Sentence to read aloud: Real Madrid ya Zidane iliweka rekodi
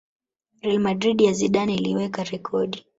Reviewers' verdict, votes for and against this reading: rejected, 0, 2